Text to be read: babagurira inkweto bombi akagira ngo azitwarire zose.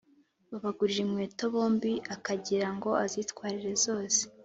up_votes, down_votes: 3, 0